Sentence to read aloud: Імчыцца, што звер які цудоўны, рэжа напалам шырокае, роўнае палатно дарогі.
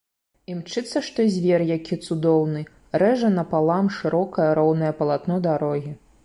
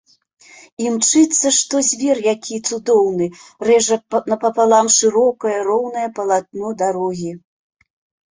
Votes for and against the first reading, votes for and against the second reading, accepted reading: 2, 0, 0, 2, first